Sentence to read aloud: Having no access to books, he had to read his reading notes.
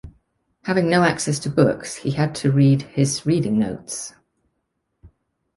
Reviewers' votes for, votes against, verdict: 2, 0, accepted